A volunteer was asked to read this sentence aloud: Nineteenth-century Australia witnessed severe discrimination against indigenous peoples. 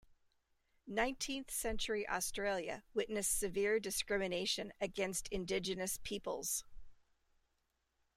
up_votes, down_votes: 2, 0